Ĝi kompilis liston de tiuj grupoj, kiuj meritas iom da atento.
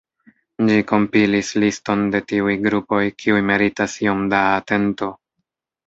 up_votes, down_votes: 1, 2